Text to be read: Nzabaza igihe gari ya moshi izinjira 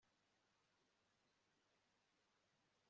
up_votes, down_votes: 0, 2